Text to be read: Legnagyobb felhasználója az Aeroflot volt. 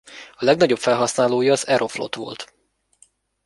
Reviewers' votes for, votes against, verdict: 1, 2, rejected